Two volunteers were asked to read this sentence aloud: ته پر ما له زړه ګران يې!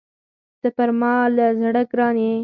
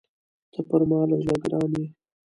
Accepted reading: second